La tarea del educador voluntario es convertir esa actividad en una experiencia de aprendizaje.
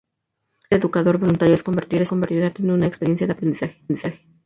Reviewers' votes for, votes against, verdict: 0, 2, rejected